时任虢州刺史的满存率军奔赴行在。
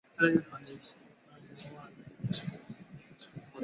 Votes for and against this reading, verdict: 0, 2, rejected